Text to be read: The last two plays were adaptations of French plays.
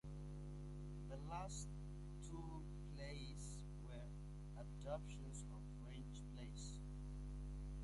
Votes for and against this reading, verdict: 0, 2, rejected